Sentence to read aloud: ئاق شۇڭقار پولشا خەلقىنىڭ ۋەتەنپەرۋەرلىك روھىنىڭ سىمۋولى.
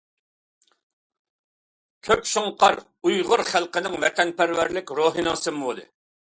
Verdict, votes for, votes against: rejected, 0, 2